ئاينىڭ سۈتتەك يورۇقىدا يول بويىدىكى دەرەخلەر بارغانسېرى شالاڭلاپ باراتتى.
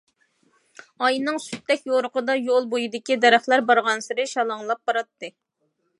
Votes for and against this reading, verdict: 2, 0, accepted